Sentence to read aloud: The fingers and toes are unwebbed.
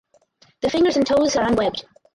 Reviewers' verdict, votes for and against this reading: rejected, 0, 4